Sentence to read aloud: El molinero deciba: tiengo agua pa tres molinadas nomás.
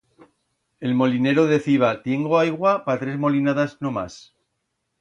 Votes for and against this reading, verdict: 1, 2, rejected